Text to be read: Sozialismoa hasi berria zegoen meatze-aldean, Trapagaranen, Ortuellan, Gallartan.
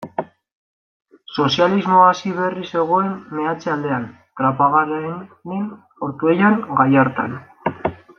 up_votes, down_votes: 1, 2